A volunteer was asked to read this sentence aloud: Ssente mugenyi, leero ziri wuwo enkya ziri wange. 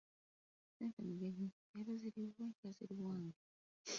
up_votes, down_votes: 0, 2